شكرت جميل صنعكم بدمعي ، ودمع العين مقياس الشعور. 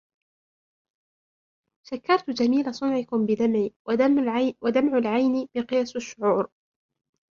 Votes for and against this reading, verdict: 2, 1, accepted